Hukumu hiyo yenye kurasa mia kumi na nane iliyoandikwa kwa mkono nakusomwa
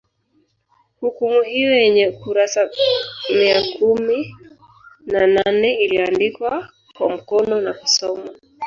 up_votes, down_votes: 2, 0